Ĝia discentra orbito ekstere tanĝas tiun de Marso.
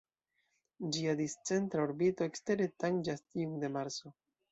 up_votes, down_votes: 2, 0